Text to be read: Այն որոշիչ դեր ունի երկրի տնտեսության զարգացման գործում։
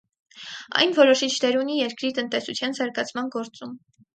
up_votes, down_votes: 4, 0